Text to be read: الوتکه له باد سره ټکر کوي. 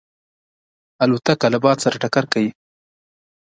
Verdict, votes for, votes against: accepted, 2, 0